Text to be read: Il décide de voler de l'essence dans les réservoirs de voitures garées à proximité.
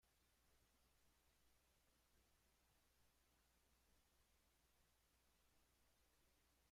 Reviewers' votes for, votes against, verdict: 0, 2, rejected